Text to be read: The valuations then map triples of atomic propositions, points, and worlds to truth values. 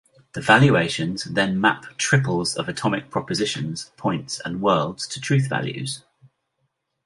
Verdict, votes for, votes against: accepted, 2, 0